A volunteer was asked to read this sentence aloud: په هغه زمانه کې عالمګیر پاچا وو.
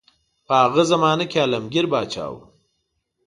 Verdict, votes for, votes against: accepted, 2, 0